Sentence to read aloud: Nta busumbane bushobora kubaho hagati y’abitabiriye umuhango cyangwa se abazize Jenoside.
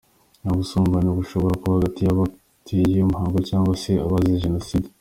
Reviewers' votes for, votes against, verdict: 0, 2, rejected